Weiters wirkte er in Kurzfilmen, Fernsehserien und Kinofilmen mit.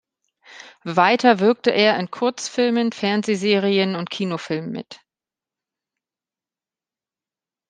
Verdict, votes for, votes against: rejected, 0, 3